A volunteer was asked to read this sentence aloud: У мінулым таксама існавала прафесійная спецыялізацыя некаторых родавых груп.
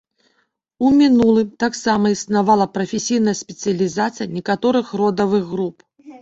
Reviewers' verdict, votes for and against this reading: accepted, 4, 0